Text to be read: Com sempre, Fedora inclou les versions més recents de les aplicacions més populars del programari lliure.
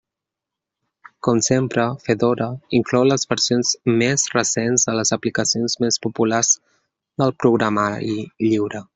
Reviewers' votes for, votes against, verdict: 1, 2, rejected